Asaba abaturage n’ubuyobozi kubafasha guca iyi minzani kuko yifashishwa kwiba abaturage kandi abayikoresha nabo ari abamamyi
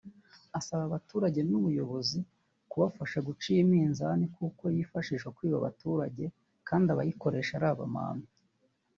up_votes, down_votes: 0, 2